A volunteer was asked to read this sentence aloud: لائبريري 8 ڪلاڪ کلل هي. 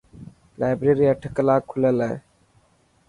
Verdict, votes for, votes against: rejected, 0, 2